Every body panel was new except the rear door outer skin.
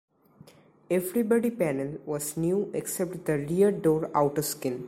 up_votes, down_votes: 2, 3